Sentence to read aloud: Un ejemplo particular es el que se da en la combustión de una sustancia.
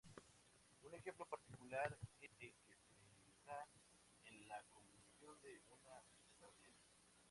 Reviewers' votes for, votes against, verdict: 0, 2, rejected